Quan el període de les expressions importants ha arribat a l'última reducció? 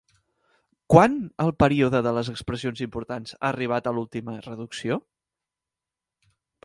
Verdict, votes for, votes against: accepted, 2, 0